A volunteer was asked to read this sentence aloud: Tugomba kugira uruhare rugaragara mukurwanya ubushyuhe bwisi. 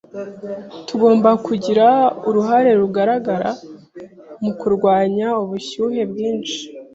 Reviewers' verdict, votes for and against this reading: rejected, 1, 2